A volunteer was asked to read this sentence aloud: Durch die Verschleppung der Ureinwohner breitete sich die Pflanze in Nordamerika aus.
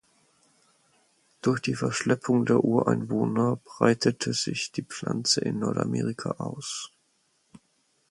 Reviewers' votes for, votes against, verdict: 4, 0, accepted